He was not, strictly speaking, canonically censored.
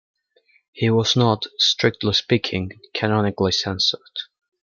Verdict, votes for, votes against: accepted, 2, 0